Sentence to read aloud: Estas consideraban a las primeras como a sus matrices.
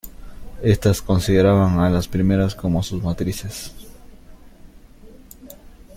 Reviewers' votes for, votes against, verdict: 1, 2, rejected